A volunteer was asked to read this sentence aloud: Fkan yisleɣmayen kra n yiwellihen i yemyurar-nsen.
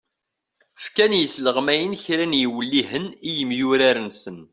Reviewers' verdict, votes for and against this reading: accepted, 2, 0